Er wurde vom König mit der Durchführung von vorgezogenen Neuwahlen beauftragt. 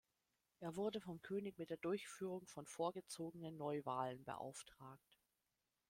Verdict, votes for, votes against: rejected, 1, 2